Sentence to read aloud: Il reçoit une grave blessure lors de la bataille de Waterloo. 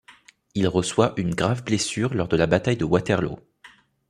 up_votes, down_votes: 2, 0